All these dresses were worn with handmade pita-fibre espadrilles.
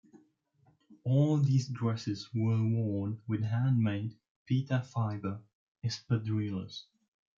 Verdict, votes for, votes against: accepted, 2, 1